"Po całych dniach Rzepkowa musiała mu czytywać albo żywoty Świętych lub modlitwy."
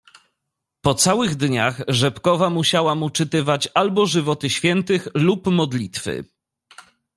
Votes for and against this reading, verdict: 2, 0, accepted